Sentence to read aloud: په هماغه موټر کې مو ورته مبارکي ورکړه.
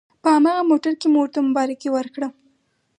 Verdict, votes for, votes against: accepted, 4, 0